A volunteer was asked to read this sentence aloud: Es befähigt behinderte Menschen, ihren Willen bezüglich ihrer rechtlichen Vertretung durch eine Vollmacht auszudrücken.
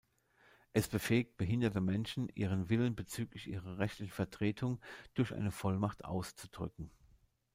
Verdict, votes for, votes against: rejected, 0, 2